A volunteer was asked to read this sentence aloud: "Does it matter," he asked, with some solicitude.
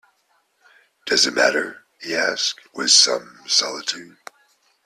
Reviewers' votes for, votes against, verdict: 2, 1, accepted